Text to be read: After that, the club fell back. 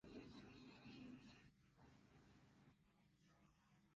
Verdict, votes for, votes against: rejected, 0, 2